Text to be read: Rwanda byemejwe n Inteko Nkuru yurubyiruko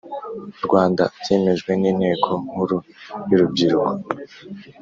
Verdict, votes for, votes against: accepted, 3, 0